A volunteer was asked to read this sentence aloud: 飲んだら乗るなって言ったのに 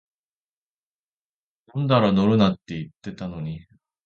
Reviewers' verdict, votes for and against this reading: rejected, 1, 2